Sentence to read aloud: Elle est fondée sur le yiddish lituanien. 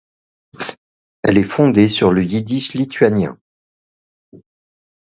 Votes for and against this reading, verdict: 2, 1, accepted